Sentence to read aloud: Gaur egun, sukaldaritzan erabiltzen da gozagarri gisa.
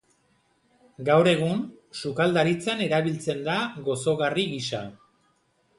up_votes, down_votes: 1, 2